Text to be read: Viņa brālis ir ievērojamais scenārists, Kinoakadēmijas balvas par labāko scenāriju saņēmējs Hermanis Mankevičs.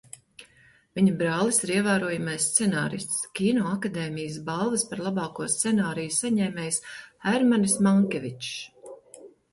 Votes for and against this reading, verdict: 2, 0, accepted